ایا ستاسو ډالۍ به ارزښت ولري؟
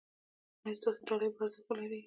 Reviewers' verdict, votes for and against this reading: accepted, 2, 0